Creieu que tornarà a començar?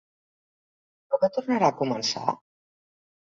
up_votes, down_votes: 0, 2